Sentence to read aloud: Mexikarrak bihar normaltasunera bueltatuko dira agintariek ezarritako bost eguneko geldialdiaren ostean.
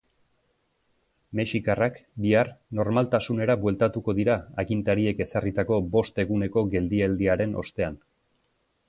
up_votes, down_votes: 2, 1